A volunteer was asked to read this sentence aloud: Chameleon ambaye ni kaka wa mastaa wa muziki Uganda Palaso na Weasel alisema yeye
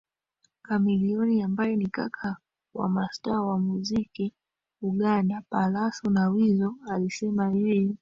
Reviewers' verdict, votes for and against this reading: rejected, 2, 3